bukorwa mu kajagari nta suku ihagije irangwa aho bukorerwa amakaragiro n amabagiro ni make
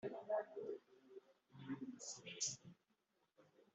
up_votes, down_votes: 2, 1